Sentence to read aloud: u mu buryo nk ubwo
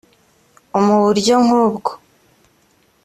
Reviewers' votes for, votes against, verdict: 2, 0, accepted